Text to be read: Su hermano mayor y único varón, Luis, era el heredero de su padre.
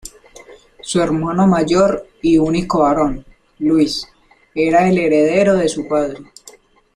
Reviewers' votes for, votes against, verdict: 2, 0, accepted